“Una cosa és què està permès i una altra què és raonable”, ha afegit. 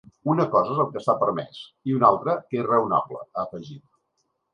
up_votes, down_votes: 1, 2